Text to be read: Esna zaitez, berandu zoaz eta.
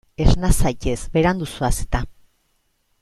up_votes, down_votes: 2, 0